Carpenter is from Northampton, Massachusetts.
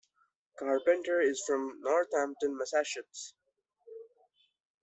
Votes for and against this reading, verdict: 1, 2, rejected